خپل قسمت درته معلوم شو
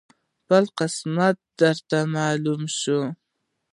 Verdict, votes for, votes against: rejected, 0, 2